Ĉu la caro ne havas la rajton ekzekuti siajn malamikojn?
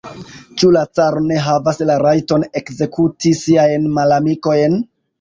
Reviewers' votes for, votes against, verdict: 2, 0, accepted